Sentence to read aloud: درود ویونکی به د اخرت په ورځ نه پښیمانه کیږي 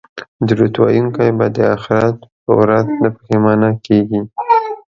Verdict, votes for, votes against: rejected, 1, 2